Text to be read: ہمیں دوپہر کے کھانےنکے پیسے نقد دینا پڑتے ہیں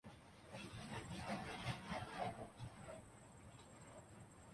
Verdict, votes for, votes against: rejected, 1, 2